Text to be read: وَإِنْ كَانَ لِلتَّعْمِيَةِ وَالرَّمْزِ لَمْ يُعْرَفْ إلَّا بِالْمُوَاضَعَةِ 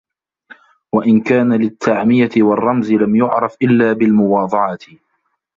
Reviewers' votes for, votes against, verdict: 0, 2, rejected